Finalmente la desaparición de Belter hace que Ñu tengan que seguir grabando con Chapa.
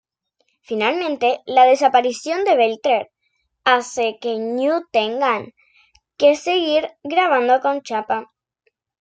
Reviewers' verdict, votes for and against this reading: rejected, 0, 2